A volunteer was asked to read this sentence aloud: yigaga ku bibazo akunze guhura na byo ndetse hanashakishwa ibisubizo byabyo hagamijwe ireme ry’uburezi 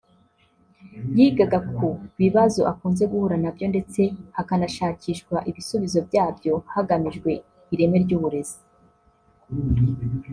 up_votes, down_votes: 1, 2